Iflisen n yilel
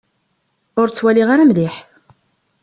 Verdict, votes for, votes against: rejected, 0, 2